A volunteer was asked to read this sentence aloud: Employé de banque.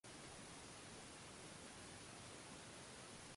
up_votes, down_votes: 0, 2